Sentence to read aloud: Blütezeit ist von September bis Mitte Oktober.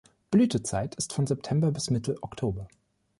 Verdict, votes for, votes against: accepted, 2, 0